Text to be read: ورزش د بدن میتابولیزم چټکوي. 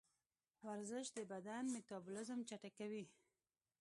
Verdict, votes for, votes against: accepted, 2, 0